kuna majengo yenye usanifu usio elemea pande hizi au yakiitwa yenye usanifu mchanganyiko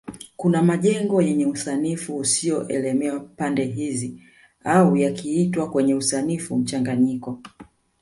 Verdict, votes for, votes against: rejected, 1, 2